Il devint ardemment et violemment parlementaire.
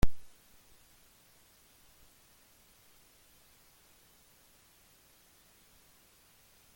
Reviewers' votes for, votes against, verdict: 0, 2, rejected